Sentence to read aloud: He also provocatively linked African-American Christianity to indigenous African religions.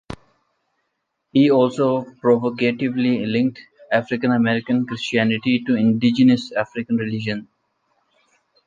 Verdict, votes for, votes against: rejected, 1, 2